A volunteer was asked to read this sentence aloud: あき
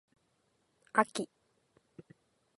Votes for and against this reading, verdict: 4, 0, accepted